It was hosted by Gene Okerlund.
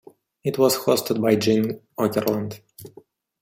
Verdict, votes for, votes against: accepted, 2, 1